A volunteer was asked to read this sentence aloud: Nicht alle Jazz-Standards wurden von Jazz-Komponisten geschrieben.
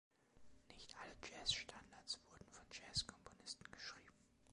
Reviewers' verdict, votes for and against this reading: accepted, 2, 0